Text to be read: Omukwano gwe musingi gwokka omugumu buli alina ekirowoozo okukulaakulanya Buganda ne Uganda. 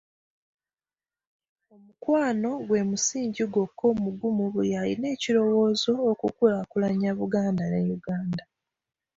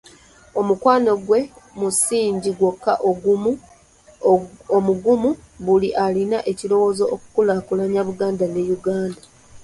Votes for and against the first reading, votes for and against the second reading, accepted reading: 2, 0, 1, 2, first